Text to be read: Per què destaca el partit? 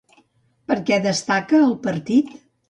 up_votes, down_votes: 2, 0